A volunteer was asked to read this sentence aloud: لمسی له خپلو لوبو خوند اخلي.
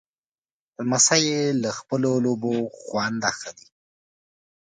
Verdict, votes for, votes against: accepted, 2, 0